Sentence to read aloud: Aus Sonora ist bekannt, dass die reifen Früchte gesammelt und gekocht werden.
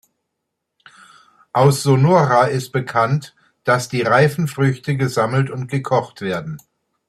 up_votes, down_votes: 2, 0